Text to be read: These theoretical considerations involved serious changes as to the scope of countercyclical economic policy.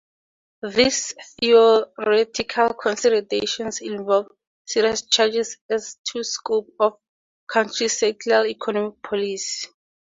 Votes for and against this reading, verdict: 2, 2, rejected